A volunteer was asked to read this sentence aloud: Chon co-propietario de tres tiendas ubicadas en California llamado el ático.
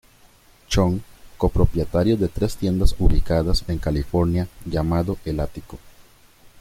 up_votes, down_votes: 2, 0